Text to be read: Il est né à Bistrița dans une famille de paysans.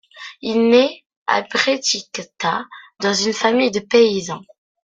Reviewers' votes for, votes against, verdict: 0, 2, rejected